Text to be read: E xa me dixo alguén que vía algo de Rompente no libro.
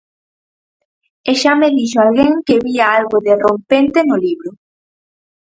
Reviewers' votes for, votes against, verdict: 4, 0, accepted